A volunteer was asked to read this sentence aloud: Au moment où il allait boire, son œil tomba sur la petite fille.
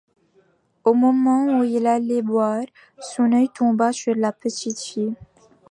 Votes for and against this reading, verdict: 2, 0, accepted